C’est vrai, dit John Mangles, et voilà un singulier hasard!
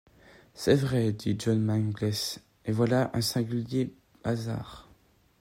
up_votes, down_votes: 2, 0